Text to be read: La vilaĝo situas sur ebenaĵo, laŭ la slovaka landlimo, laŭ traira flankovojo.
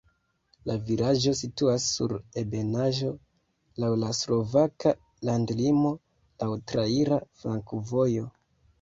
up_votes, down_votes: 0, 2